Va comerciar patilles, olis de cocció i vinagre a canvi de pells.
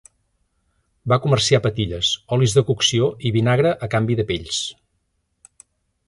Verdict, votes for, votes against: accepted, 3, 0